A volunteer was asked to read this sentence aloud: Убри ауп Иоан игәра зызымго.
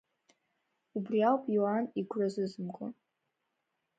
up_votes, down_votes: 2, 0